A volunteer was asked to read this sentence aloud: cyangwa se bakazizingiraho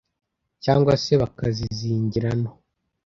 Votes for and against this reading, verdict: 0, 2, rejected